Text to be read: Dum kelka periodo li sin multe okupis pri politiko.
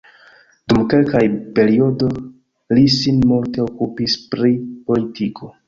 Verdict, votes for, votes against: accepted, 3, 0